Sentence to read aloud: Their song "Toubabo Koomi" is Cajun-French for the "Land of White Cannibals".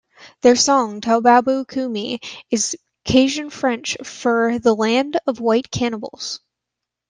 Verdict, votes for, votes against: accepted, 2, 0